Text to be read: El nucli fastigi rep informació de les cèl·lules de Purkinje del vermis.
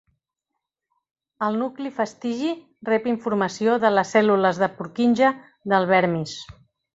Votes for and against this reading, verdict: 3, 0, accepted